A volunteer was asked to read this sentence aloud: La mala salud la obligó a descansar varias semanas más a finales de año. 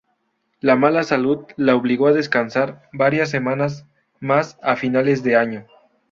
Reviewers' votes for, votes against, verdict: 2, 0, accepted